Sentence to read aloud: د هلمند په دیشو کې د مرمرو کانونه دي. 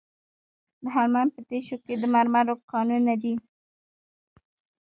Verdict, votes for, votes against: rejected, 1, 2